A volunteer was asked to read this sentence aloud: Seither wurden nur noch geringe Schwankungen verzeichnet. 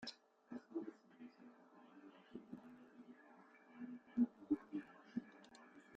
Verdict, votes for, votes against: rejected, 0, 2